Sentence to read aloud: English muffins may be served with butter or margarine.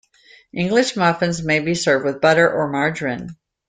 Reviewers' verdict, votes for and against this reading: accepted, 2, 0